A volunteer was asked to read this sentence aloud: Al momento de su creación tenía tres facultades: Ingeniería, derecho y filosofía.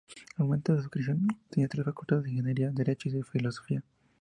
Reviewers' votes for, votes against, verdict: 0, 2, rejected